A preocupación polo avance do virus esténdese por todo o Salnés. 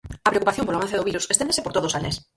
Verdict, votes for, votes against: rejected, 0, 4